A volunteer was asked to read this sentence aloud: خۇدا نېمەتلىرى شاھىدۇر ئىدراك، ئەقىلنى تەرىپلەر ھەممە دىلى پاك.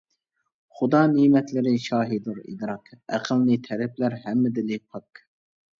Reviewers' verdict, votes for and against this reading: rejected, 0, 2